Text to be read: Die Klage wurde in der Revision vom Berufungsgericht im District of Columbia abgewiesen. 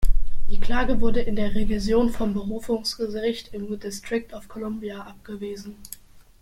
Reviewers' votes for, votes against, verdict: 2, 0, accepted